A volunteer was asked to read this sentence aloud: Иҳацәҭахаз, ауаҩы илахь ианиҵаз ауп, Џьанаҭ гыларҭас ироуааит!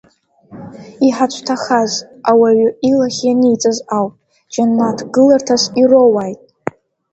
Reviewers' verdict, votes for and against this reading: accepted, 2, 0